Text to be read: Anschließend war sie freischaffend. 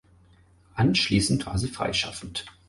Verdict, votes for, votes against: accepted, 4, 0